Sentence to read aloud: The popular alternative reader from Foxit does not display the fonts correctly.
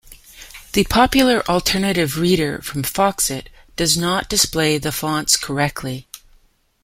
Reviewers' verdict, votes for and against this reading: accepted, 2, 0